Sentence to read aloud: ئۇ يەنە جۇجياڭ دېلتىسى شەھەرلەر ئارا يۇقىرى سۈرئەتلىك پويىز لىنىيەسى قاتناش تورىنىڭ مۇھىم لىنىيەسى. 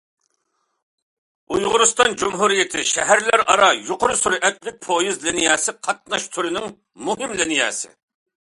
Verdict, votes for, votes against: rejected, 0, 2